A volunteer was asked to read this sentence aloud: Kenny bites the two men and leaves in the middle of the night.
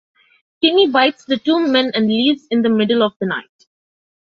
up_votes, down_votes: 2, 0